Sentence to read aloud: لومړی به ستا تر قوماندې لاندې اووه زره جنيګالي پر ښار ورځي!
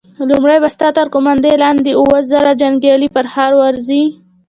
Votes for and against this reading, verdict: 2, 0, accepted